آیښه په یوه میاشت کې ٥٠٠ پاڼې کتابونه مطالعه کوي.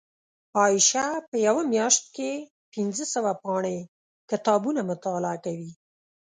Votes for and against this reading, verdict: 0, 2, rejected